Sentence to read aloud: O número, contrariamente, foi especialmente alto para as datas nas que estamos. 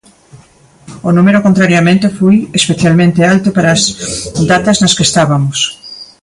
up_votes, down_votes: 1, 2